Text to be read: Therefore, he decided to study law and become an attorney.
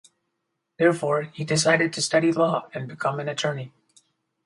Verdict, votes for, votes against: accepted, 4, 0